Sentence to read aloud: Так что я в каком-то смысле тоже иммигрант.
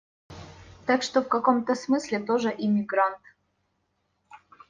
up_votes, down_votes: 0, 2